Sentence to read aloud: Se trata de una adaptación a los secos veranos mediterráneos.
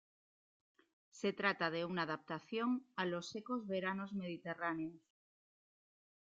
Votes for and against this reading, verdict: 1, 2, rejected